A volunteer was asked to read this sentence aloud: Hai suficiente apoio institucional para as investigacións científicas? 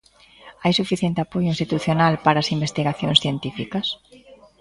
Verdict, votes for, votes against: rejected, 0, 2